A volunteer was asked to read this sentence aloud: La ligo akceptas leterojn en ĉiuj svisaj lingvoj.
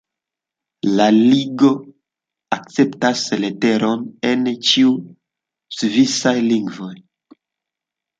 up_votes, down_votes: 0, 2